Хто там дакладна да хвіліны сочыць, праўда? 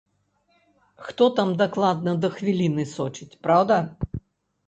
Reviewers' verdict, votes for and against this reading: accepted, 2, 0